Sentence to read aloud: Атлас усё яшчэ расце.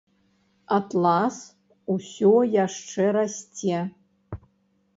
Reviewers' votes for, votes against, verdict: 1, 2, rejected